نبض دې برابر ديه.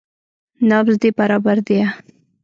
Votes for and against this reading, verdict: 0, 2, rejected